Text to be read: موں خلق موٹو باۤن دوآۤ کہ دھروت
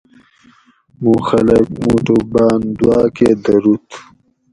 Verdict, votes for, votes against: rejected, 2, 2